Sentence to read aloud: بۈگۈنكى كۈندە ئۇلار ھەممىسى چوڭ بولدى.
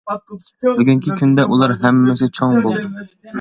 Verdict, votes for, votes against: rejected, 1, 2